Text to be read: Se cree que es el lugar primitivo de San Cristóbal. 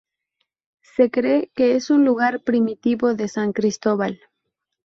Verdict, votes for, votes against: rejected, 0, 2